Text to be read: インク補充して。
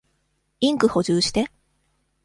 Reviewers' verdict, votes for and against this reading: accepted, 2, 0